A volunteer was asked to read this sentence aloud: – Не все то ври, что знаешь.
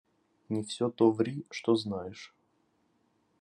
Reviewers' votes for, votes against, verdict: 1, 2, rejected